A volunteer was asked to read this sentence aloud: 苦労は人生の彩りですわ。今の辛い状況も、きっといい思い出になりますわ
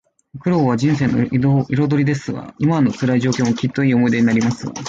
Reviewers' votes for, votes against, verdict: 2, 0, accepted